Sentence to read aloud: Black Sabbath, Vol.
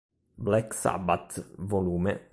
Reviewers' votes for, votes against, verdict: 3, 0, accepted